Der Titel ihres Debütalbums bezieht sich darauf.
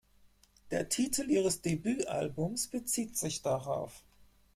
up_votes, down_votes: 4, 0